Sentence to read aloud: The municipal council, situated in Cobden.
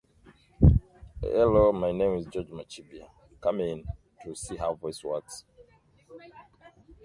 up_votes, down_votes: 0, 2